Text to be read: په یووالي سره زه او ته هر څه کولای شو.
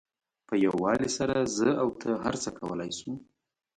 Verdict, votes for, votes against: accepted, 2, 0